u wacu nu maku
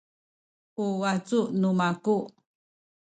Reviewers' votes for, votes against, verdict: 2, 0, accepted